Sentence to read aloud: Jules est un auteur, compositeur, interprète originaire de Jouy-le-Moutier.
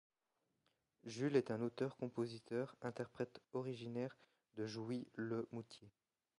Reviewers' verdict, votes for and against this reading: rejected, 1, 2